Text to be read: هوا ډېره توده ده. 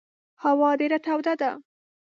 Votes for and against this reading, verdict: 2, 0, accepted